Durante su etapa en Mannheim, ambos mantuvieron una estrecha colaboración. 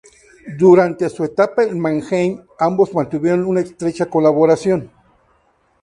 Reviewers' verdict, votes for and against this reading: accepted, 2, 0